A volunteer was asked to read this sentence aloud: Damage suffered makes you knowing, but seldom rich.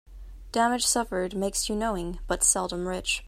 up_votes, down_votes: 2, 0